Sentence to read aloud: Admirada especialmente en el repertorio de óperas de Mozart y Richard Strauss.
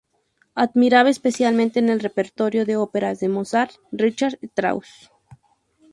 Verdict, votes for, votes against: rejected, 0, 2